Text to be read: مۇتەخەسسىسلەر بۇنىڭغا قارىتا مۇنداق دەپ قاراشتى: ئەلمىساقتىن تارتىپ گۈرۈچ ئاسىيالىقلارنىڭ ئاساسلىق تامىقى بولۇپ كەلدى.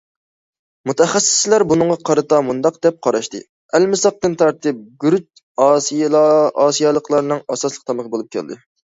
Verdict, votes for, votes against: rejected, 0, 2